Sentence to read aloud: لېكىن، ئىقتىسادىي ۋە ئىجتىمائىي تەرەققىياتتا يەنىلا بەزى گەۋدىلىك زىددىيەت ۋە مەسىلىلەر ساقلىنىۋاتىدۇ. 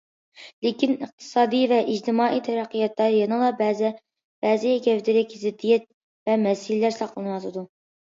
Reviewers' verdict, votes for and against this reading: accepted, 2, 1